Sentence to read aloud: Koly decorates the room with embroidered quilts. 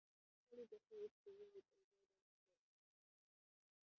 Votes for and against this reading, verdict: 0, 2, rejected